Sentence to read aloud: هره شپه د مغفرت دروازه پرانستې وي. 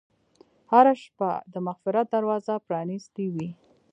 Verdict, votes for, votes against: accepted, 2, 0